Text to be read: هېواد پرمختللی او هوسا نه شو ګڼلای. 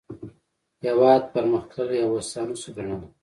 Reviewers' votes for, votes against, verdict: 2, 1, accepted